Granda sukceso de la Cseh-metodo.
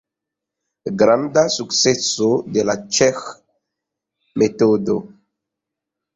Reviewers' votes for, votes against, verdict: 1, 2, rejected